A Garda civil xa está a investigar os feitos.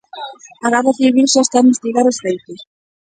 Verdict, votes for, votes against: accepted, 2, 0